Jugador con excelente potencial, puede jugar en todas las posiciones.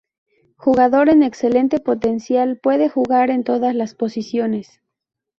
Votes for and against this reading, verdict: 4, 0, accepted